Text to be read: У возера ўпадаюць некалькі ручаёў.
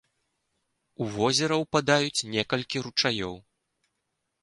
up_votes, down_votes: 2, 0